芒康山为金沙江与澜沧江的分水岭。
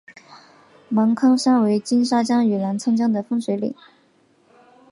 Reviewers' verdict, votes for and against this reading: accepted, 2, 0